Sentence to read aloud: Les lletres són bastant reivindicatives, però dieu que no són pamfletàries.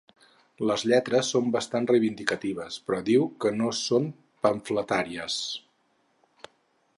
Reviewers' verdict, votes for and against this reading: rejected, 0, 4